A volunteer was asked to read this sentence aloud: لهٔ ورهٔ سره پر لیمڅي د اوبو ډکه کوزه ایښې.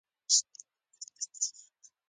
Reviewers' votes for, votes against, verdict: 0, 2, rejected